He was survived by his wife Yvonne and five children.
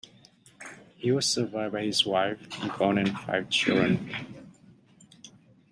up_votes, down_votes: 2, 0